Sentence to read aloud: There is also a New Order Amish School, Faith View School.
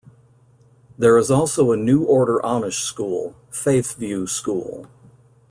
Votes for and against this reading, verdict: 2, 0, accepted